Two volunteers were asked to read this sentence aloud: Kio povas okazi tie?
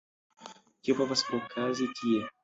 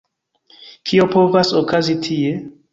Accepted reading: second